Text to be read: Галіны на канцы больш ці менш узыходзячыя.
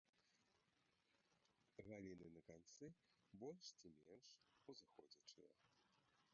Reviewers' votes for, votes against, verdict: 0, 2, rejected